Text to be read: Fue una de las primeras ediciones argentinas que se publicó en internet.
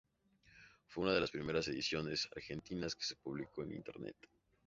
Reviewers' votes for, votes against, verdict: 2, 0, accepted